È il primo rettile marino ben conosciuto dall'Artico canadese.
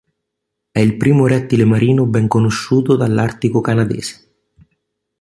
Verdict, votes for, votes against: accepted, 2, 0